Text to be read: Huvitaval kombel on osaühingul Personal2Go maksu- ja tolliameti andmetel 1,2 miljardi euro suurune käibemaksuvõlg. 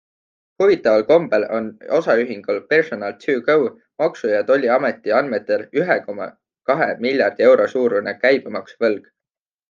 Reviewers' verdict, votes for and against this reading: rejected, 0, 2